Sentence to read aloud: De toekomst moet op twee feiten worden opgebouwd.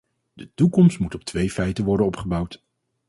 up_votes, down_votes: 4, 0